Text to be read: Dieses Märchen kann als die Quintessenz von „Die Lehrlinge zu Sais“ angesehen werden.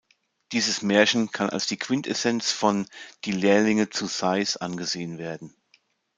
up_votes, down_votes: 2, 0